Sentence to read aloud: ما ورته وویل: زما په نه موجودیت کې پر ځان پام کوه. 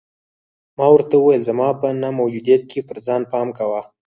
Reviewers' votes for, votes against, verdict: 4, 2, accepted